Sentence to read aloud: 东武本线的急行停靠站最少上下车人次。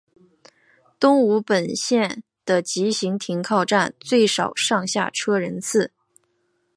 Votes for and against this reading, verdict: 2, 0, accepted